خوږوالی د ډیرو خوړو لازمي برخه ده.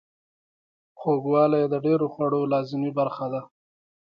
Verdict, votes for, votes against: accepted, 2, 0